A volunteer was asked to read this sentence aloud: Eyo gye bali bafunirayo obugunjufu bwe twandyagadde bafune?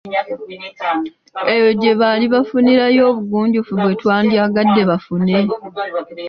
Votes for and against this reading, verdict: 2, 1, accepted